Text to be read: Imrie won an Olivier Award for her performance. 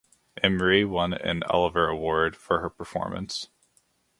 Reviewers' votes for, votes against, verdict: 2, 0, accepted